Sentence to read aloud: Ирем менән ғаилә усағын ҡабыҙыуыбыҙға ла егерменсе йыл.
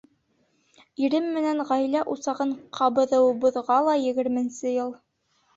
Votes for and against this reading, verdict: 2, 0, accepted